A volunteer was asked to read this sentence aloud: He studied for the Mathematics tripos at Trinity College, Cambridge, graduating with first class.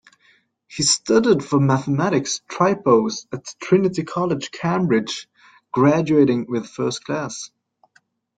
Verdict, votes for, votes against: accepted, 2, 1